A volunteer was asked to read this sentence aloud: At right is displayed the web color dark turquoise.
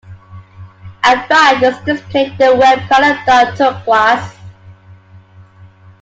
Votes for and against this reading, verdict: 0, 2, rejected